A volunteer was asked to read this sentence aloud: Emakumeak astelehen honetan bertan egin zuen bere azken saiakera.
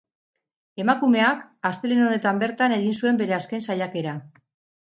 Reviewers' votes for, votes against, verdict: 2, 2, rejected